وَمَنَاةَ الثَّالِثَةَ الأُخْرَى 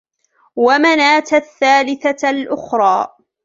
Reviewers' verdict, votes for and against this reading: accepted, 2, 0